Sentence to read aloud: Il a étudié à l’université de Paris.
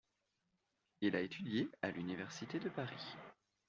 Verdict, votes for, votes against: accepted, 2, 0